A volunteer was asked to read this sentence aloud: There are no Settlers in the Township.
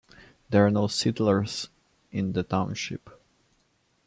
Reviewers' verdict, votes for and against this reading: accepted, 3, 1